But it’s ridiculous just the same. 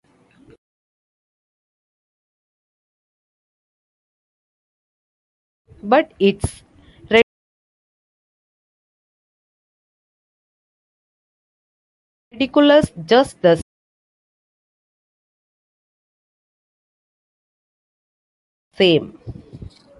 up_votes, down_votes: 0, 2